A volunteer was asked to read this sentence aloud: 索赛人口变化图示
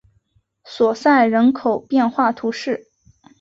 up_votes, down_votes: 4, 1